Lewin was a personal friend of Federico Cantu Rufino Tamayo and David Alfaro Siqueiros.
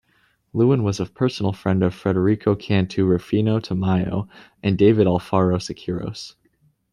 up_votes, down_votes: 2, 0